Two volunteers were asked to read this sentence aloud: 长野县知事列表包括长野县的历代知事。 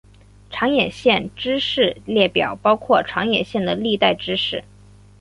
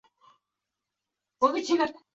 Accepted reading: first